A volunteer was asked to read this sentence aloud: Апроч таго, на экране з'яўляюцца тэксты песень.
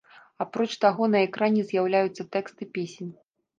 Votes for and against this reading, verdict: 2, 0, accepted